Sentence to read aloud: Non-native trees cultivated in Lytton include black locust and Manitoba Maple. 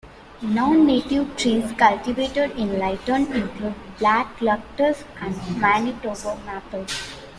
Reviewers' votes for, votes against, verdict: 0, 2, rejected